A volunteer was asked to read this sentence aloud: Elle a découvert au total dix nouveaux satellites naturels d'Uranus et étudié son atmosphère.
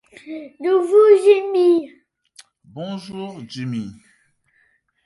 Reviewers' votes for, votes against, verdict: 0, 2, rejected